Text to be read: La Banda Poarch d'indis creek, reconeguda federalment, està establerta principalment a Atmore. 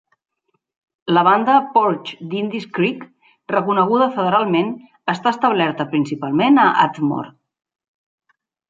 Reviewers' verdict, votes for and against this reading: rejected, 1, 2